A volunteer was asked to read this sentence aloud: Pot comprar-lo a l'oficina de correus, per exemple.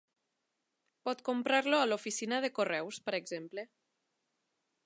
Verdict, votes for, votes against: accepted, 3, 0